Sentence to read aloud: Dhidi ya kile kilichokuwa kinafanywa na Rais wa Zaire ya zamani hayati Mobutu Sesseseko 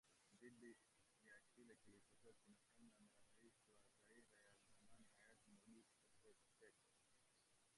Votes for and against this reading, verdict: 1, 2, rejected